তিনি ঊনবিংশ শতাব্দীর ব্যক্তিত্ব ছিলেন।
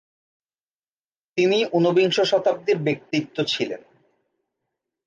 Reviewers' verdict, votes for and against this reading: rejected, 1, 2